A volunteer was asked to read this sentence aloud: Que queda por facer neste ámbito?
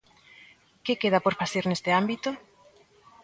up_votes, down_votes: 2, 0